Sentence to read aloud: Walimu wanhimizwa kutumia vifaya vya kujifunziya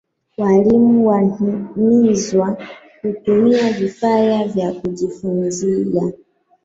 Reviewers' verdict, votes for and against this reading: accepted, 3, 1